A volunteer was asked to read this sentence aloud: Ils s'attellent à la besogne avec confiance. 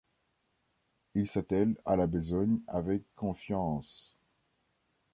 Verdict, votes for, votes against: rejected, 1, 2